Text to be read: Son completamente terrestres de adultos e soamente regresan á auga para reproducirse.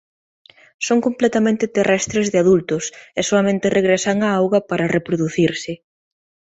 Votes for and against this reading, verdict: 2, 0, accepted